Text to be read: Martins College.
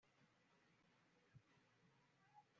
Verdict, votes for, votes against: rejected, 1, 2